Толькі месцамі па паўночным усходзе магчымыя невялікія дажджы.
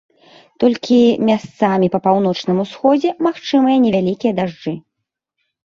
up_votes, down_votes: 0, 2